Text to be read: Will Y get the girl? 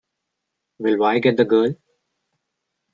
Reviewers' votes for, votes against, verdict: 1, 2, rejected